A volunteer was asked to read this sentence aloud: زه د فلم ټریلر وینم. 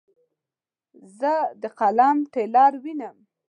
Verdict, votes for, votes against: rejected, 1, 2